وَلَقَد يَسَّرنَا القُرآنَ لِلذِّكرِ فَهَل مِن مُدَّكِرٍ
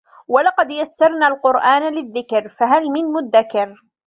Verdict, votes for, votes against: rejected, 1, 2